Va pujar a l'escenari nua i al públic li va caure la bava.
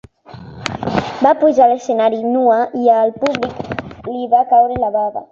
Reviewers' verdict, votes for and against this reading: accepted, 2, 1